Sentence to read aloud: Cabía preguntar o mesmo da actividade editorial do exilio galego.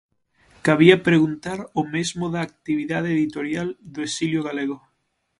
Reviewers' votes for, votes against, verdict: 6, 0, accepted